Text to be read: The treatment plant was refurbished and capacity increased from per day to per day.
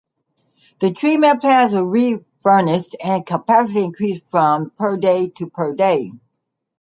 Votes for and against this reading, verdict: 0, 2, rejected